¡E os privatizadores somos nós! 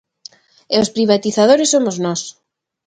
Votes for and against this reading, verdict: 2, 0, accepted